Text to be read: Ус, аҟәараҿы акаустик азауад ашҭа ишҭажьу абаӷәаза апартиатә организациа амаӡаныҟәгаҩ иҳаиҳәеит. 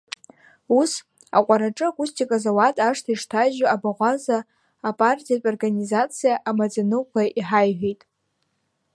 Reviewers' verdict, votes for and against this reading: rejected, 0, 2